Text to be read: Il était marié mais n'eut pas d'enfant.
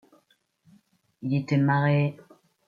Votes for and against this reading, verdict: 0, 2, rejected